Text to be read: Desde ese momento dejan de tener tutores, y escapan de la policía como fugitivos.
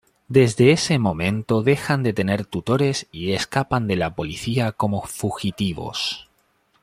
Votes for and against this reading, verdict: 2, 0, accepted